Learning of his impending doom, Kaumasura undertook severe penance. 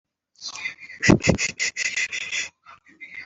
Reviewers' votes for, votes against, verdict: 0, 2, rejected